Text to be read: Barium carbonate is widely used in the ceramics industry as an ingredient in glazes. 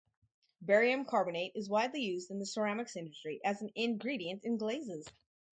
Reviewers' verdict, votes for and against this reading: rejected, 0, 2